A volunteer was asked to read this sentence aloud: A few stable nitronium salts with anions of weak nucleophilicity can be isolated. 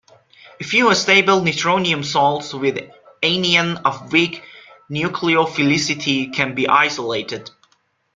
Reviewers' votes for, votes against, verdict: 0, 2, rejected